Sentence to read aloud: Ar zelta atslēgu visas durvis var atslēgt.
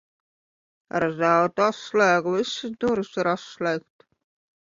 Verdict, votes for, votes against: rejected, 1, 2